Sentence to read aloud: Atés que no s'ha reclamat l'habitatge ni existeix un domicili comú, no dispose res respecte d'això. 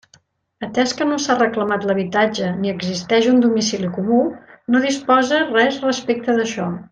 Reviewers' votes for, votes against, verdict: 2, 0, accepted